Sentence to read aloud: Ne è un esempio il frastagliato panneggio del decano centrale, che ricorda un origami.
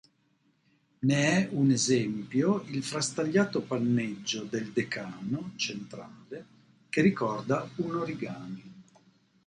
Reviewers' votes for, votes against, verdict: 1, 2, rejected